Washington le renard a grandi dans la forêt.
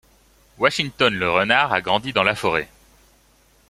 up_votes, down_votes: 2, 0